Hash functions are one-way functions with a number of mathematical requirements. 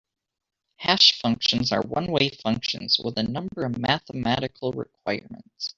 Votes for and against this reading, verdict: 2, 1, accepted